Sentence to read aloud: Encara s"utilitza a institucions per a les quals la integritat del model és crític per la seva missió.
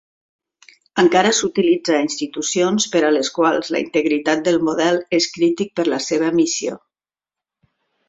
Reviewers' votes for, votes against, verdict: 3, 0, accepted